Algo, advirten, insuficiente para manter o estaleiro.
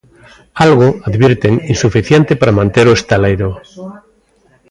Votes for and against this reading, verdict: 0, 2, rejected